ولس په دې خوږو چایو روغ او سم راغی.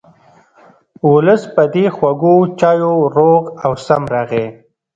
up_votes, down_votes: 2, 0